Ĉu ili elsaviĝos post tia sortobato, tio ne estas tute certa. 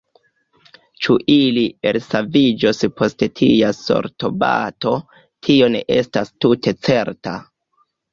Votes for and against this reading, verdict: 0, 2, rejected